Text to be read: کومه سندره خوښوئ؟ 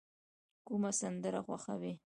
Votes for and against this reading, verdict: 2, 3, rejected